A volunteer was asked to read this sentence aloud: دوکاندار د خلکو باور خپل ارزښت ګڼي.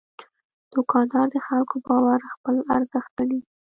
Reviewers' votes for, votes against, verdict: 2, 0, accepted